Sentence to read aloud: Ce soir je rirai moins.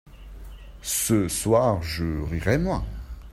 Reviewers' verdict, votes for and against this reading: accepted, 2, 0